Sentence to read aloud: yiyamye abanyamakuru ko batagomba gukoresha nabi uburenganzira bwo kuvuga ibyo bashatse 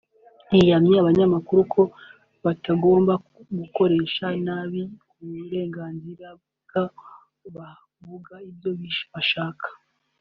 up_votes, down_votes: 1, 2